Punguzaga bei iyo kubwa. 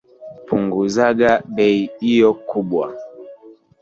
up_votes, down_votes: 3, 2